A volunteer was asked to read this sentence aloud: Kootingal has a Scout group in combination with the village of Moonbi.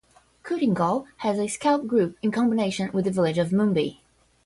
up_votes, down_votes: 10, 0